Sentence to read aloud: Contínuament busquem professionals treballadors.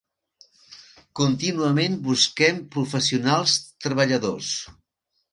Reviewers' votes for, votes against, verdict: 4, 0, accepted